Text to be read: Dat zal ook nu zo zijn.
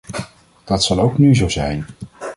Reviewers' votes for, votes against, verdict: 2, 0, accepted